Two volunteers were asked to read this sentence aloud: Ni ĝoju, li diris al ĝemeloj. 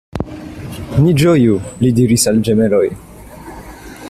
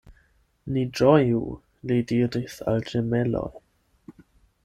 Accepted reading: first